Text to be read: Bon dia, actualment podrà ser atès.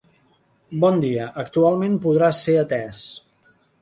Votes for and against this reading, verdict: 2, 0, accepted